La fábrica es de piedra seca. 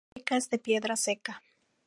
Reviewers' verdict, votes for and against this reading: rejected, 0, 2